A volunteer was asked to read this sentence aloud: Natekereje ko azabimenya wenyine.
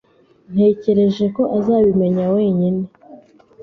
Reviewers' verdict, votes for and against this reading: rejected, 1, 2